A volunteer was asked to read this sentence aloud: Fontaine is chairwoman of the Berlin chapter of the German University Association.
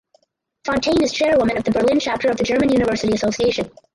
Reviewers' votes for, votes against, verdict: 2, 2, rejected